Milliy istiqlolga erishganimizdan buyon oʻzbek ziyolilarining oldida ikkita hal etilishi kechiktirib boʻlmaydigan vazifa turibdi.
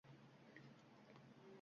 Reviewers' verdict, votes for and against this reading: rejected, 0, 2